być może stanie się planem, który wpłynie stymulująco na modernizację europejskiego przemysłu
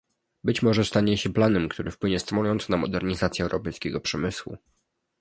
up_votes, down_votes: 2, 0